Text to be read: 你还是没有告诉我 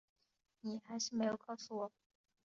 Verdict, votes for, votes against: accepted, 4, 0